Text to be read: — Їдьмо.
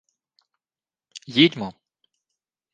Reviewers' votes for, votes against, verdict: 2, 0, accepted